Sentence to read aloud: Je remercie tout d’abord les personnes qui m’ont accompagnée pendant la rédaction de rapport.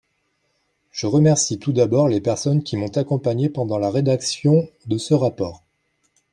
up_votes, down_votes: 1, 2